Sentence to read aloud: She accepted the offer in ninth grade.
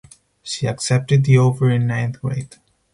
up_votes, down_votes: 4, 2